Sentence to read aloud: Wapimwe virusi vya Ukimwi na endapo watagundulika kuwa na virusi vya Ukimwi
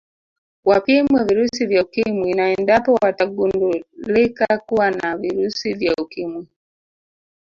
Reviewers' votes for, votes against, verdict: 0, 2, rejected